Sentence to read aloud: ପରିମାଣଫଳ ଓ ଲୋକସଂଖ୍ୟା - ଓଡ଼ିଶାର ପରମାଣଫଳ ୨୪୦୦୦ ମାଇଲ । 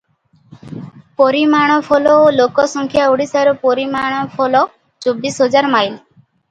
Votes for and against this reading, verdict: 0, 2, rejected